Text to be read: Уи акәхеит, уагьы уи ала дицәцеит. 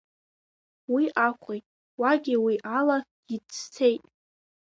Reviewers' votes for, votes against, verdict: 2, 3, rejected